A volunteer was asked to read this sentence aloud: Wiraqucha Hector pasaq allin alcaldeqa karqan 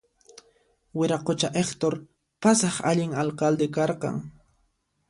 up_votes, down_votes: 0, 2